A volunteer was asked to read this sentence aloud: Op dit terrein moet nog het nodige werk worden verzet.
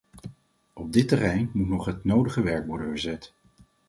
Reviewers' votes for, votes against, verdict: 4, 0, accepted